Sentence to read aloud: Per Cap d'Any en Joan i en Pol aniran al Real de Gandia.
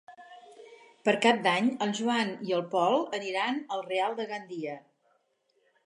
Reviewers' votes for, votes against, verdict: 0, 4, rejected